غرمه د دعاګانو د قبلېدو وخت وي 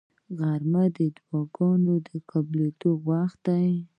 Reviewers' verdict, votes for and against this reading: rejected, 0, 2